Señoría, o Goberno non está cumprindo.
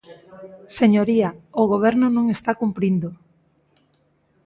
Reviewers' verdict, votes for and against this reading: accepted, 2, 0